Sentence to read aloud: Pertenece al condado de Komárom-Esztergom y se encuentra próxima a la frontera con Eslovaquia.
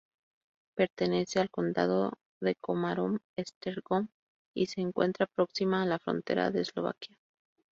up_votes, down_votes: 0, 2